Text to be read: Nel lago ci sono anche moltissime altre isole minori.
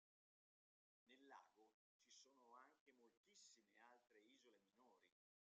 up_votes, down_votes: 0, 2